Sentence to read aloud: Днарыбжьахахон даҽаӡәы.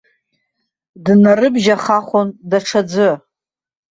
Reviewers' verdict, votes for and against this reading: rejected, 0, 2